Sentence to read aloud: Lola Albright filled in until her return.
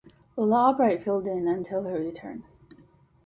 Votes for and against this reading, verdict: 0, 2, rejected